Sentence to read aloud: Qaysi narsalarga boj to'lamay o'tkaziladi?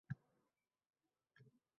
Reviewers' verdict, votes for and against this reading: rejected, 0, 2